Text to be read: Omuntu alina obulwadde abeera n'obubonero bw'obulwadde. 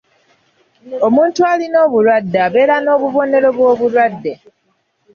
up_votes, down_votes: 0, 2